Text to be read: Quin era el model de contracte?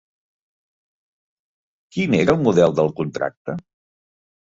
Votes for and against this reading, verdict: 0, 2, rejected